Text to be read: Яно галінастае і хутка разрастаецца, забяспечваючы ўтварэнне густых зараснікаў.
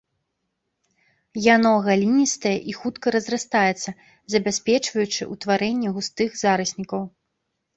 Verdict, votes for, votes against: rejected, 2, 3